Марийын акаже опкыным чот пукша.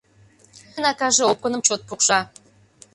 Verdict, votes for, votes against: rejected, 0, 2